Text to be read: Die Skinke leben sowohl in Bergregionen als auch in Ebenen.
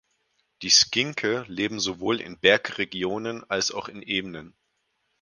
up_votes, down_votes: 4, 0